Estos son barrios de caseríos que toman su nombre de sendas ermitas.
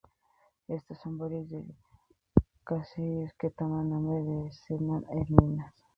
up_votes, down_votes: 0, 2